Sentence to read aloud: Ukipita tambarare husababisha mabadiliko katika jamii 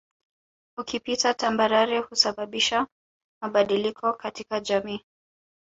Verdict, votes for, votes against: accepted, 2, 0